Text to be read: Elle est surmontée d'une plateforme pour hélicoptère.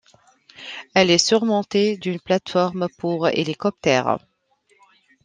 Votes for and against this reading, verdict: 2, 0, accepted